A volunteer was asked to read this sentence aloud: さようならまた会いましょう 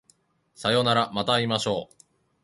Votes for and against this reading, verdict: 2, 1, accepted